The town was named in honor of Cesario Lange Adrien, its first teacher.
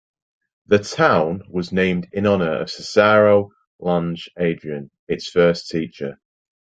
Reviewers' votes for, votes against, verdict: 2, 0, accepted